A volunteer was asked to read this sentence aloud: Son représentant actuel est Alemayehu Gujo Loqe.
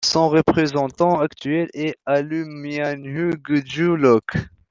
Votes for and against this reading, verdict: 2, 0, accepted